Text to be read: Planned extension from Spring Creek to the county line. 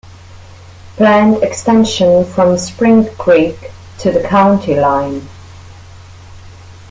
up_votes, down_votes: 2, 0